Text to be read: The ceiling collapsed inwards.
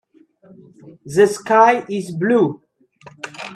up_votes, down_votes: 0, 2